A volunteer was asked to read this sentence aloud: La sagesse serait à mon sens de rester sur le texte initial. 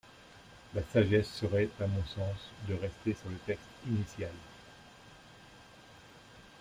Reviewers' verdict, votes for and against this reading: rejected, 0, 2